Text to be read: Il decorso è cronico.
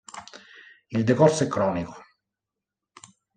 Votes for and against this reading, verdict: 2, 0, accepted